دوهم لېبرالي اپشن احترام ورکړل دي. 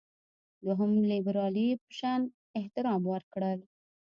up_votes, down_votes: 1, 2